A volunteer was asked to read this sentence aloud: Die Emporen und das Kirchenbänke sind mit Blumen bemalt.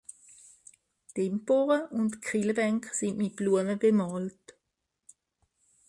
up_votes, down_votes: 0, 2